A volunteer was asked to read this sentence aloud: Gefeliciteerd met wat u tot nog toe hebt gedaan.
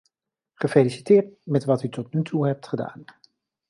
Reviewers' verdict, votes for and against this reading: accepted, 2, 0